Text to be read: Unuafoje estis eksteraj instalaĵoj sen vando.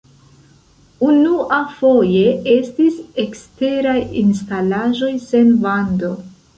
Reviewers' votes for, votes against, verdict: 1, 2, rejected